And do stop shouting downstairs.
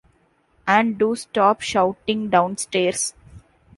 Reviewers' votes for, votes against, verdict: 1, 2, rejected